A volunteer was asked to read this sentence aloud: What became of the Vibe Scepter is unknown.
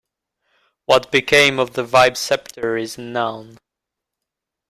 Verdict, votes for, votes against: rejected, 1, 2